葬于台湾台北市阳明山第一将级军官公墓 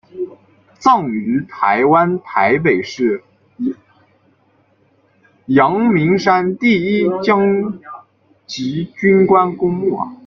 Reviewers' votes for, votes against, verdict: 1, 2, rejected